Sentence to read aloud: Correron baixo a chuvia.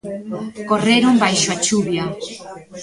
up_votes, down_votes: 1, 2